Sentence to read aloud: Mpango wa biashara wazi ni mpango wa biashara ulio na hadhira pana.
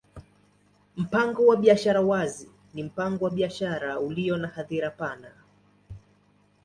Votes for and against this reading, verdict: 2, 0, accepted